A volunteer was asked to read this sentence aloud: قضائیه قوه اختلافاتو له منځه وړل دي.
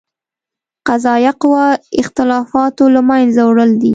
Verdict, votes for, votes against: accepted, 2, 0